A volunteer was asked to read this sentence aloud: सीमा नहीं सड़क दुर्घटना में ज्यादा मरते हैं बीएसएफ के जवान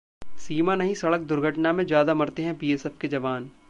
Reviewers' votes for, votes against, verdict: 2, 0, accepted